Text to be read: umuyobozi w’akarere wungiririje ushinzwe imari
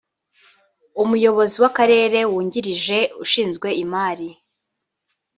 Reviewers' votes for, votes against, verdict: 1, 2, rejected